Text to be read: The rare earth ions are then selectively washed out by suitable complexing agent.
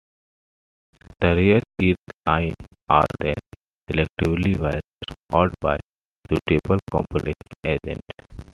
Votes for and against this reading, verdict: 1, 2, rejected